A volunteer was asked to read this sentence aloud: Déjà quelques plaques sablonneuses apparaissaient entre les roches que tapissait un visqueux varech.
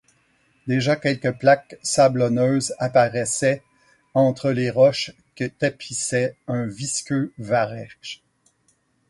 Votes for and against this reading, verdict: 4, 0, accepted